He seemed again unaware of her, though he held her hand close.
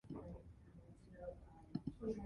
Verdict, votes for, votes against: rejected, 0, 2